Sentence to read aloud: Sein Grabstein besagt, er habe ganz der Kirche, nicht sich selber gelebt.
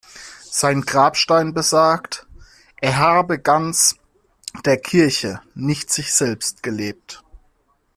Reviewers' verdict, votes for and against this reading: rejected, 1, 2